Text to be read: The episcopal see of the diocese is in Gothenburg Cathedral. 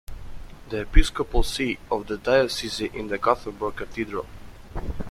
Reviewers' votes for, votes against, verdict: 0, 2, rejected